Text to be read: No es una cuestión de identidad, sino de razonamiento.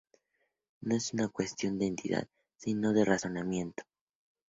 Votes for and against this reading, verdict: 0, 4, rejected